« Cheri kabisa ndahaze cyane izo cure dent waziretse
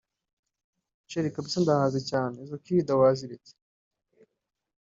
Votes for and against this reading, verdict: 0, 2, rejected